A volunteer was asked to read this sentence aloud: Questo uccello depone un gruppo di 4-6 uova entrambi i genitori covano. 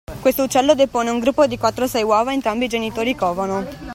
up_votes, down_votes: 0, 2